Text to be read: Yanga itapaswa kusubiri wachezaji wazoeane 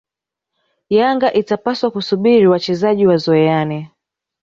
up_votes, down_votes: 2, 0